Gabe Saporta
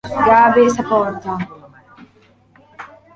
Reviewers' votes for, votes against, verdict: 1, 2, rejected